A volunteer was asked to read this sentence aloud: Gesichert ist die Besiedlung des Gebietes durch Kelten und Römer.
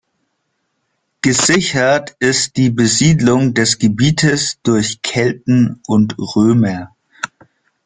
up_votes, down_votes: 2, 0